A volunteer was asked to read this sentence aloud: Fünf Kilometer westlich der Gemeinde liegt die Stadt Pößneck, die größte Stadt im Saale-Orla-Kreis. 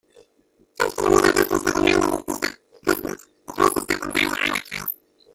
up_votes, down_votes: 0, 2